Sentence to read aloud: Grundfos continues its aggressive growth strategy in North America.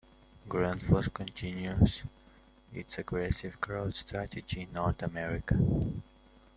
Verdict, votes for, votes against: rejected, 1, 2